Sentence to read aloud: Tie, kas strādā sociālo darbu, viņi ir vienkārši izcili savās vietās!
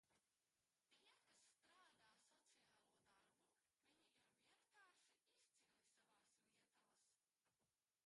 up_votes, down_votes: 0, 2